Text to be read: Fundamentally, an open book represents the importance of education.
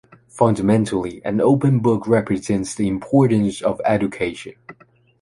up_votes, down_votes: 2, 0